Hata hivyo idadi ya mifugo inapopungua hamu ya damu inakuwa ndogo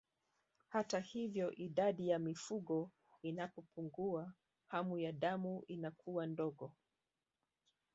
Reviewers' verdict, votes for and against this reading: accepted, 2, 0